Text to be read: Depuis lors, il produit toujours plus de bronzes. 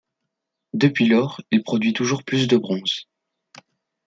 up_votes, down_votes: 2, 0